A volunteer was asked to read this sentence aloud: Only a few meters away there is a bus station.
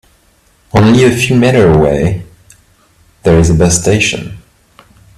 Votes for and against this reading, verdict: 0, 2, rejected